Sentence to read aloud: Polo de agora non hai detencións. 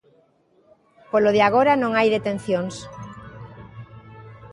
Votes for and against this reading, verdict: 2, 0, accepted